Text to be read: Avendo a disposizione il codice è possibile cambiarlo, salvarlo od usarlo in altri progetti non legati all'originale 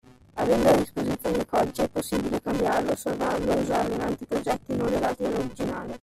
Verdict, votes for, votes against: rejected, 0, 2